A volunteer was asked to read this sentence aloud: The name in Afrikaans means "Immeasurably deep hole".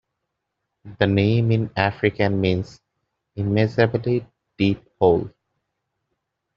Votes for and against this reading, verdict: 0, 2, rejected